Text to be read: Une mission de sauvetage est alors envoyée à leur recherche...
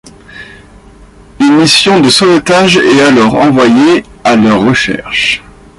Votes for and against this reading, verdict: 2, 0, accepted